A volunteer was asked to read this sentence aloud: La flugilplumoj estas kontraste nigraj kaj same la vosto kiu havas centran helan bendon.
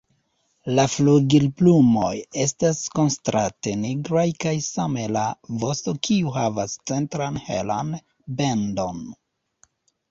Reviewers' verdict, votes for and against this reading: rejected, 0, 2